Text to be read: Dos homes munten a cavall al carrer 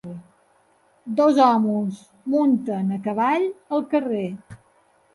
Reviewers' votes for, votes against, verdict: 1, 2, rejected